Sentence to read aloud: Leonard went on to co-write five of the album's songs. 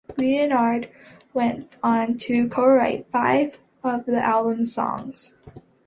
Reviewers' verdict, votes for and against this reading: accepted, 2, 0